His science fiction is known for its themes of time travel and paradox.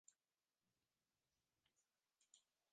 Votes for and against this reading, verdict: 0, 2, rejected